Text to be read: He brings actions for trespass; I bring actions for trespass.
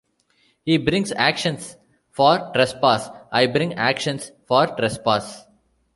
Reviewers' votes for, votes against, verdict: 2, 0, accepted